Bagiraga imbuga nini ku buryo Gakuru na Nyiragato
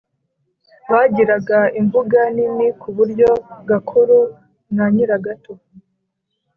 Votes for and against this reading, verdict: 2, 0, accepted